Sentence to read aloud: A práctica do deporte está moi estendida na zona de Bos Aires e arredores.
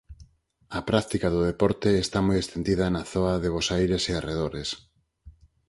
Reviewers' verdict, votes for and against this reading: rejected, 2, 4